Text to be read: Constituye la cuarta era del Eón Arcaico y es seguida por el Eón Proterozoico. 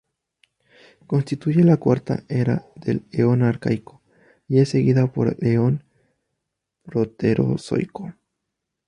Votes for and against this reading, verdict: 0, 2, rejected